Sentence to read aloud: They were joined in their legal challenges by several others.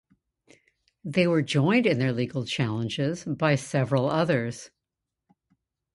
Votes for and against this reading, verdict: 2, 0, accepted